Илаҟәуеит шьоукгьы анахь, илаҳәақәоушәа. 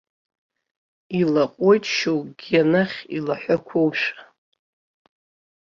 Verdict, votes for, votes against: accepted, 2, 0